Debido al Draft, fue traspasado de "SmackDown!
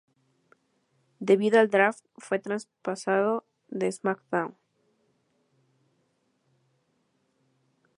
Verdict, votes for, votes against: rejected, 0, 2